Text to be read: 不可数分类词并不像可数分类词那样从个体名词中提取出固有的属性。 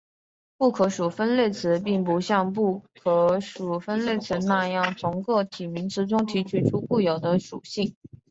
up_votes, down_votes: 0, 2